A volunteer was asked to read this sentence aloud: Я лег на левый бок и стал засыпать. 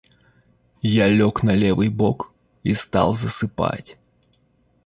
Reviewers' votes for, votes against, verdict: 2, 0, accepted